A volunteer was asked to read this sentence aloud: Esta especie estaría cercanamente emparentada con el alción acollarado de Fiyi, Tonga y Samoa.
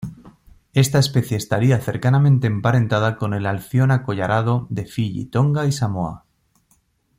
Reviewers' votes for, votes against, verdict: 2, 0, accepted